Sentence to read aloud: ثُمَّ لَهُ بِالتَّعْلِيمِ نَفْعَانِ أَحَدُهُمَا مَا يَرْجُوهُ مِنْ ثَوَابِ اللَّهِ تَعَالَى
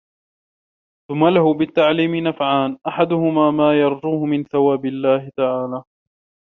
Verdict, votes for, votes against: accepted, 2, 0